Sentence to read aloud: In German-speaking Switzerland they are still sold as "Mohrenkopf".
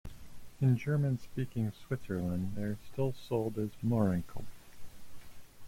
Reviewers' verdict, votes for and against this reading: accepted, 2, 1